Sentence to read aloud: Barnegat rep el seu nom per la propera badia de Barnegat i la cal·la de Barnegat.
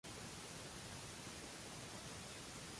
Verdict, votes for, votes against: rejected, 0, 2